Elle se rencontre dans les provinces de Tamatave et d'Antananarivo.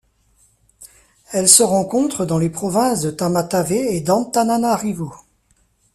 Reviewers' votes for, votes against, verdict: 2, 0, accepted